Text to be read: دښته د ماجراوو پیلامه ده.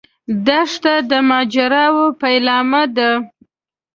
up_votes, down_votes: 2, 0